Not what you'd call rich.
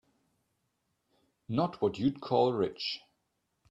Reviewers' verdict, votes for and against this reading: accepted, 2, 0